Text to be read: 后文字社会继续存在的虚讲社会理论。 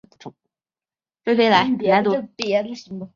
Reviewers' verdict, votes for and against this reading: rejected, 1, 6